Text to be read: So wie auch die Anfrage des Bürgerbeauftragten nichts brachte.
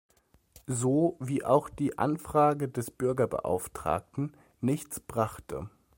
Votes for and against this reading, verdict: 2, 0, accepted